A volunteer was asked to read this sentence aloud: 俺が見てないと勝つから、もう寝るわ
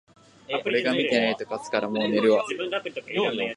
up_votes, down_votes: 1, 2